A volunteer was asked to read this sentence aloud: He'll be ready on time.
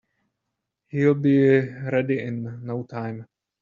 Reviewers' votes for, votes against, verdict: 0, 2, rejected